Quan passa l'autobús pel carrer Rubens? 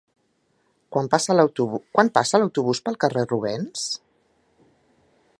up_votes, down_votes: 0, 3